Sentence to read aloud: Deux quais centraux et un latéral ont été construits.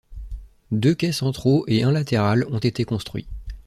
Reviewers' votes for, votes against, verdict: 2, 0, accepted